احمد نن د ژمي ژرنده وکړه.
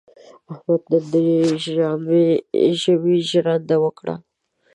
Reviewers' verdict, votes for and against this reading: rejected, 1, 2